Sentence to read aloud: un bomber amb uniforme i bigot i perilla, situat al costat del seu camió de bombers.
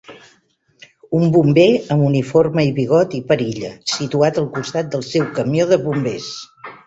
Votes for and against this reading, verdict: 2, 0, accepted